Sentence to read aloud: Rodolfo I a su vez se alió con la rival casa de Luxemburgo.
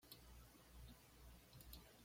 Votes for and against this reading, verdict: 1, 2, rejected